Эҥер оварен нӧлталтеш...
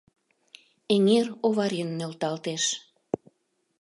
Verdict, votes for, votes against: accepted, 2, 0